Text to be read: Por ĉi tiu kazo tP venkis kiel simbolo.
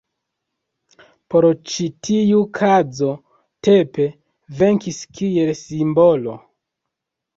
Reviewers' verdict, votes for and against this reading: rejected, 1, 2